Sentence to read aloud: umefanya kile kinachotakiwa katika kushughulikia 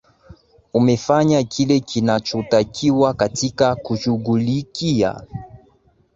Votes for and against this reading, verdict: 2, 0, accepted